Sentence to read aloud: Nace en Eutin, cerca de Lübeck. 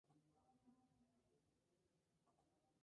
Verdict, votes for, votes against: rejected, 0, 4